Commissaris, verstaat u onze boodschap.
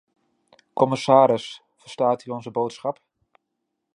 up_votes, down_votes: 2, 0